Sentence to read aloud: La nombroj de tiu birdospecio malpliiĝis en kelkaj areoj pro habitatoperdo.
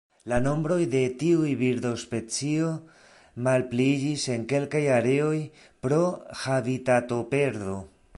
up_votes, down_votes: 1, 2